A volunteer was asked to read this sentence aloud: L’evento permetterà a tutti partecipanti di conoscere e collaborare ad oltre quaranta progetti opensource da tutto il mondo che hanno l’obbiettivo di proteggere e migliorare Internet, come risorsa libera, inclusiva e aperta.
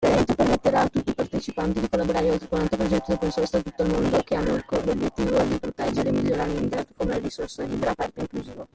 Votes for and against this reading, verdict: 0, 2, rejected